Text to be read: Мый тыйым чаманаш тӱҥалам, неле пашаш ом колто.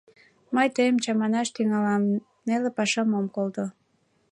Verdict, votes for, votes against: rejected, 0, 2